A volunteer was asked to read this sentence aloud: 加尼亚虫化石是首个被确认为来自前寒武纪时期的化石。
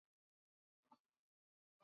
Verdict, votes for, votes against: rejected, 0, 3